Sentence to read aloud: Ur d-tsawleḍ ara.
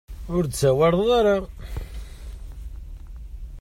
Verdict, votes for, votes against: rejected, 1, 2